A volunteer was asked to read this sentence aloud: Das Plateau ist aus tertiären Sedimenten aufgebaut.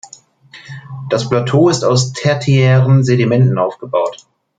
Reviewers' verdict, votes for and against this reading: rejected, 1, 2